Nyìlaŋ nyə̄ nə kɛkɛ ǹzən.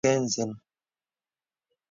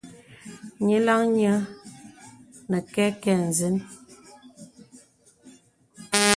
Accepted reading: second